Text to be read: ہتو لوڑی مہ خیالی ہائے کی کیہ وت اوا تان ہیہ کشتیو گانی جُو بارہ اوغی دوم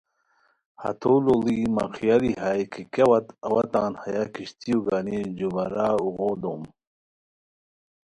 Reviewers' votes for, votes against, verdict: 2, 0, accepted